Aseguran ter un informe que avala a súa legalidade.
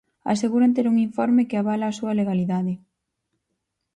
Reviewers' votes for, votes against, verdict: 4, 0, accepted